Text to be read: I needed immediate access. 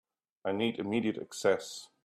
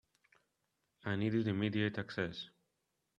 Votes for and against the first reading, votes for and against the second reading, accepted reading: 1, 2, 3, 0, second